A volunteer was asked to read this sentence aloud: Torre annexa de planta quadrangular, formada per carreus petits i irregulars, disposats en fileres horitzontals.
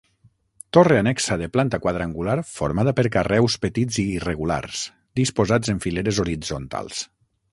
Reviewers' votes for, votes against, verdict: 12, 0, accepted